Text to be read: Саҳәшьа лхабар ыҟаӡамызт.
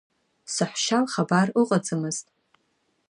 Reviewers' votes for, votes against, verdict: 1, 2, rejected